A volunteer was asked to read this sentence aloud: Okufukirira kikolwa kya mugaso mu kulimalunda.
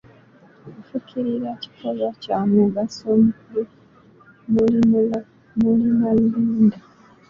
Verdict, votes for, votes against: rejected, 1, 2